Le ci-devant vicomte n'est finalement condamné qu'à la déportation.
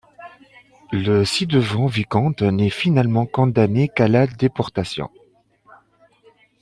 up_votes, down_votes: 2, 0